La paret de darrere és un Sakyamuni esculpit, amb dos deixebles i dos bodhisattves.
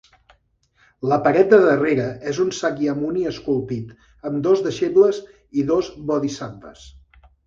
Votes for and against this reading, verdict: 3, 0, accepted